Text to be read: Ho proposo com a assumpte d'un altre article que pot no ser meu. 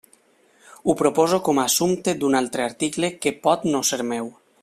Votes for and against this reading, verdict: 0, 2, rejected